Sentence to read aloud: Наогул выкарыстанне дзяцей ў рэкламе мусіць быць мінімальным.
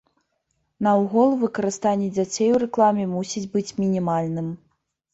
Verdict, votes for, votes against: rejected, 0, 2